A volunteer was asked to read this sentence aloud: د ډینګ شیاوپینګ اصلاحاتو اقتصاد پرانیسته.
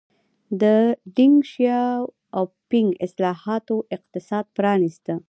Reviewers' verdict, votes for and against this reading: rejected, 1, 2